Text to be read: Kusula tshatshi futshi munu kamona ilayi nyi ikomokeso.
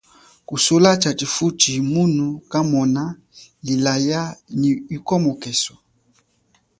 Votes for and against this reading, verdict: 2, 0, accepted